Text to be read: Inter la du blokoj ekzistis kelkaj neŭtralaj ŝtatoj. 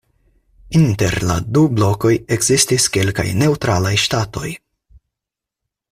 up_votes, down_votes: 4, 0